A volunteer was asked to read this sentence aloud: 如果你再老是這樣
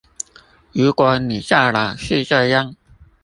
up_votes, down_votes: 0, 2